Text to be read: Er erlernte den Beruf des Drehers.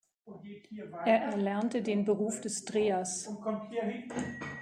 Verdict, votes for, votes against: accepted, 2, 0